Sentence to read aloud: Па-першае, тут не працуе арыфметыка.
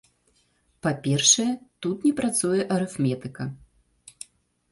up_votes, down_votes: 2, 0